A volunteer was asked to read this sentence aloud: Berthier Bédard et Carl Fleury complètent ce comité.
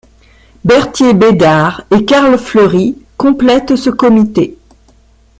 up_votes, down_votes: 1, 2